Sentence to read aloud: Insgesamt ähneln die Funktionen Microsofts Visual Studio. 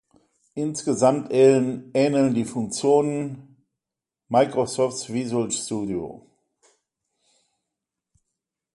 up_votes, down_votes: 1, 2